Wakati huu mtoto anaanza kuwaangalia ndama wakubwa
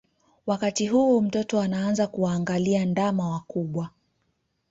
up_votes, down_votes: 2, 0